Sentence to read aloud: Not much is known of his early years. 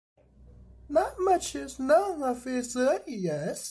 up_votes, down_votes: 2, 1